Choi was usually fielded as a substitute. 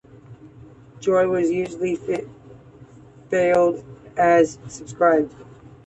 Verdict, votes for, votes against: rejected, 0, 2